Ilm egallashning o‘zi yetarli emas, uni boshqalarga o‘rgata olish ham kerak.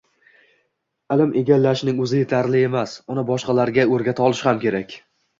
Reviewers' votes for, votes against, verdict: 2, 0, accepted